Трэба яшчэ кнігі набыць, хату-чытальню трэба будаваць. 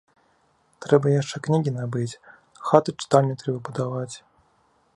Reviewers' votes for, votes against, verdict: 1, 2, rejected